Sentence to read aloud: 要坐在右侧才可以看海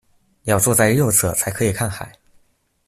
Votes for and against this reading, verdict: 2, 0, accepted